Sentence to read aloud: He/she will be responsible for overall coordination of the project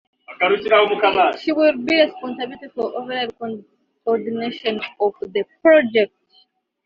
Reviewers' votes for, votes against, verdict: 0, 2, rejected